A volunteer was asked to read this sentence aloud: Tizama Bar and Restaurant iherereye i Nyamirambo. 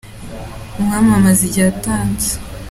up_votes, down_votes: 0, 2